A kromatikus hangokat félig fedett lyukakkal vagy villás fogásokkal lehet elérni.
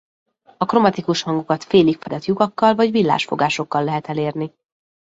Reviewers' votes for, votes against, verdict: 0, 2, rejected